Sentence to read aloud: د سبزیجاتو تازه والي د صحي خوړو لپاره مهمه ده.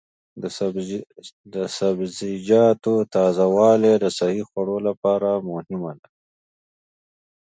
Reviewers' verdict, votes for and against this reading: rejected, 1, 2